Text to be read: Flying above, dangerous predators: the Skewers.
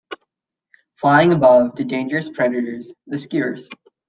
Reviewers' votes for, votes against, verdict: 1, 2, rejected